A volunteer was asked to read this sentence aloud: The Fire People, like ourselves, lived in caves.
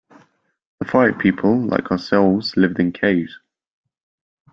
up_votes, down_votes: 2, 0